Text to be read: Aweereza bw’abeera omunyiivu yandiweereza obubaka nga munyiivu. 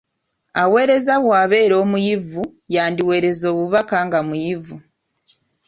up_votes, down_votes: 0, 2